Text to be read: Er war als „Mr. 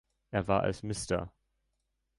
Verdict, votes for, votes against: rejected, 0, 2